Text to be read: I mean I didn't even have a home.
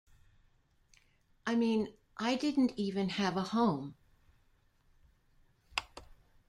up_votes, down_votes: 2, 1